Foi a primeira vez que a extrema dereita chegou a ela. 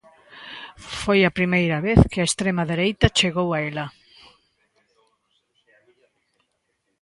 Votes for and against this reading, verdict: 1, 2, rejected